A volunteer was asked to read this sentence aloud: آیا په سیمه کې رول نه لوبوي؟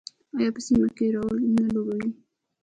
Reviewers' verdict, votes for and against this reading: rejected, 0, 2